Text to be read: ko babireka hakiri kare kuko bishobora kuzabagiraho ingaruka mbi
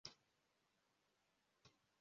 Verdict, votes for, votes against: rejected, 0, 2